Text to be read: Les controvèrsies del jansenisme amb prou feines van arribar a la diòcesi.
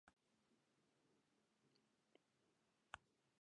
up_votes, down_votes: 0, 2